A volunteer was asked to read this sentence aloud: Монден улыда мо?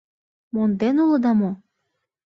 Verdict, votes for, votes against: accepted, 2, 0